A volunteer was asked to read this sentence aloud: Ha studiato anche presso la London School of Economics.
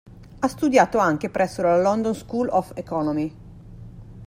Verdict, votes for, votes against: accepted, 2, 1